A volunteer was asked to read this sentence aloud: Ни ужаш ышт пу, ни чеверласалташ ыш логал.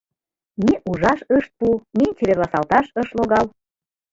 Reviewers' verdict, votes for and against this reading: rejected, 1, 2